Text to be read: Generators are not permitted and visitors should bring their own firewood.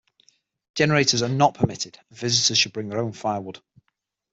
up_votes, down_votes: 6, 0